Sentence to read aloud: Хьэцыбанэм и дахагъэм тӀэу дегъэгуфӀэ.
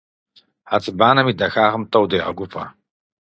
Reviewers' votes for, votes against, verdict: 4, 0, accepted